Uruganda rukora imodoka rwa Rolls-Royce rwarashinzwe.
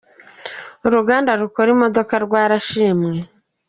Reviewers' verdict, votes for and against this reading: rejected, 1, 2